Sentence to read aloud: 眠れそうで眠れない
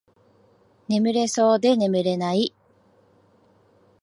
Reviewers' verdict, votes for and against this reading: accepted, 2, 0